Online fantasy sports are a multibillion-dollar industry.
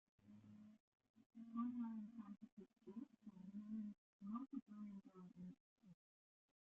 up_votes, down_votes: 0, 2